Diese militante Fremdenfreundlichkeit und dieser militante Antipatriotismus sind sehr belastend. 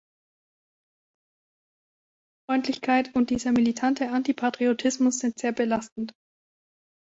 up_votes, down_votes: 0, 2